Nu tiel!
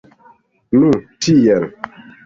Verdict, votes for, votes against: rejected, 0, 2